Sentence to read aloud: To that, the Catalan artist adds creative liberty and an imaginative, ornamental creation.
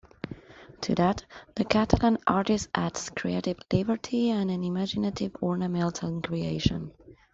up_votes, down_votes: 2, 0